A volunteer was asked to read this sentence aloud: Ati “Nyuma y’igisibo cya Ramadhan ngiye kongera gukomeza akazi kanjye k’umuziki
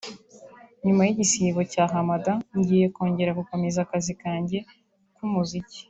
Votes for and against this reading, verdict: 0, 2, rejected